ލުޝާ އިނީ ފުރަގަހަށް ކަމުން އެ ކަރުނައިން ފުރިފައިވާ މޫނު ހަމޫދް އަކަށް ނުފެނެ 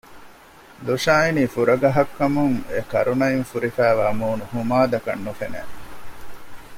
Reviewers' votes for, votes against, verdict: 1, 2, rejected